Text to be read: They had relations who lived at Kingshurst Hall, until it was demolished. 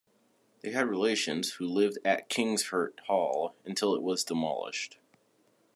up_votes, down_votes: 1, 2